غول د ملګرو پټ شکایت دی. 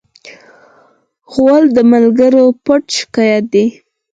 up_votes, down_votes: 6, 4